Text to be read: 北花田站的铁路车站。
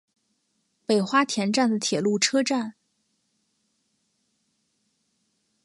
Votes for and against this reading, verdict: 2, 0, accepted